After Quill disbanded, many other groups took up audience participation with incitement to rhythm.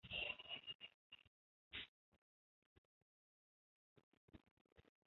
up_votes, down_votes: 0, 2